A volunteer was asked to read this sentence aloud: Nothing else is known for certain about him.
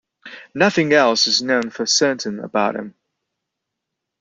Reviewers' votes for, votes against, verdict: 2, 0, accepted